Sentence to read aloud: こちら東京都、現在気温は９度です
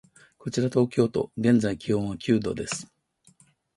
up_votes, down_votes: 0, 2